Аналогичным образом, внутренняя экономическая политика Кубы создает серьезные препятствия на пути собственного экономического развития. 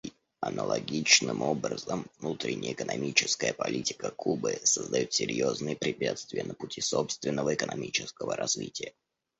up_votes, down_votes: 2, 0